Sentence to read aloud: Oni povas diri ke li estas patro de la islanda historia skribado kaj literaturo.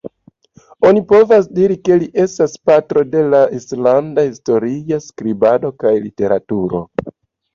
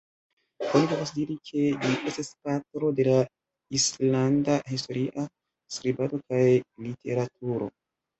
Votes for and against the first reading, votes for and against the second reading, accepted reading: 2, 0, 0, 2, first